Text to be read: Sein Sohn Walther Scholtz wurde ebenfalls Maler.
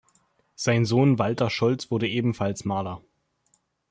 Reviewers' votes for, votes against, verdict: 2, 0, accepted